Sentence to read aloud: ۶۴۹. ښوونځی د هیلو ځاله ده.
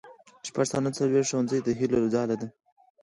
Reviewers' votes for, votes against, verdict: 0, 2, rejected